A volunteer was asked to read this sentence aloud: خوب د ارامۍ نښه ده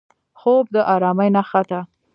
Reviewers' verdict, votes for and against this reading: rejected, 1, 2